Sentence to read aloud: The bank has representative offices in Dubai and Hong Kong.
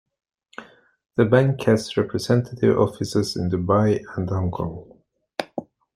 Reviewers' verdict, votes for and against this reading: accepted, 2, 0